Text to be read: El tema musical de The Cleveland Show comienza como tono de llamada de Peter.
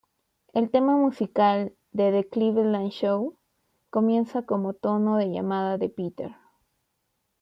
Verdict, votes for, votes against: accepted, 2, 0